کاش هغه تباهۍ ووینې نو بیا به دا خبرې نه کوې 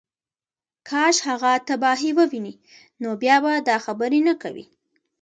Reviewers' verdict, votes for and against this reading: accepted, 2, 1